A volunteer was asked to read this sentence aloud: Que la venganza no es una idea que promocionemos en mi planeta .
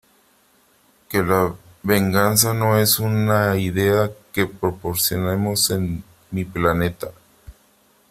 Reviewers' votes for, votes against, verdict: 1, 3, rejected